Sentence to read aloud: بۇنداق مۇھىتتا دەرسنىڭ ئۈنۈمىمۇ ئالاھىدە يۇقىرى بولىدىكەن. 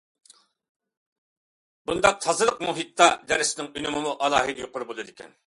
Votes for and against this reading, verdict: 0, 2, rejected